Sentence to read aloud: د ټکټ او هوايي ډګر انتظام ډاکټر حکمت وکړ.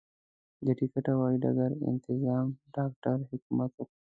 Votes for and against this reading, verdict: 0, 2, rejected